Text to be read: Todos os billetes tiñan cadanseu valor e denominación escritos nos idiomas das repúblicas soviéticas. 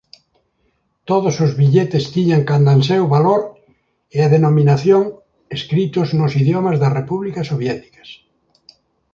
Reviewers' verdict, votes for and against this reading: rejected, 2, 3